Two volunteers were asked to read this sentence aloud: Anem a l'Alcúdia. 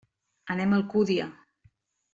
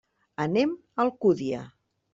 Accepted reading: second